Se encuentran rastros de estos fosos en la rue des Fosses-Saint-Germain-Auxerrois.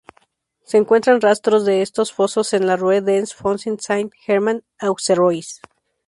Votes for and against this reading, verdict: 2, 2, rejected